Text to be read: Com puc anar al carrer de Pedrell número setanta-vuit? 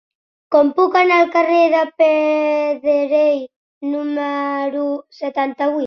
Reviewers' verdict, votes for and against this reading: rejected, 1, 2